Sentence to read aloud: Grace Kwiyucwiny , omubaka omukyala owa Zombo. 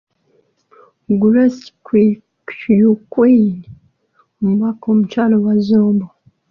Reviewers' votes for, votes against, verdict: 2, 1, accepted